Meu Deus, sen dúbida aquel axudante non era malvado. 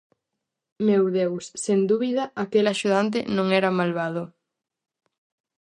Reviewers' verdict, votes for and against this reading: accepted, 4, 0